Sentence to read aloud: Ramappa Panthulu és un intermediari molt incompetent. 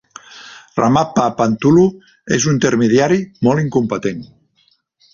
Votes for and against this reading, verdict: 2, 3, rejected